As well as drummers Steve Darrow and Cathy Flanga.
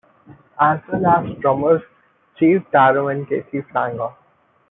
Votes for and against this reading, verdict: 1, 2, rejected